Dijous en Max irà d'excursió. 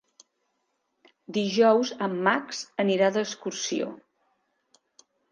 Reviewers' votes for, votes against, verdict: 0, 2, rejected